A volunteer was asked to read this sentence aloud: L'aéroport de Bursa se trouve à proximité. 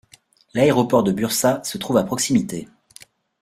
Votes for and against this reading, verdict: 2, 0, accepted